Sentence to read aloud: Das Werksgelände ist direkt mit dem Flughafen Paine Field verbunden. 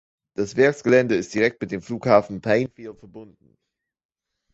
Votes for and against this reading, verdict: 2, 3, rejected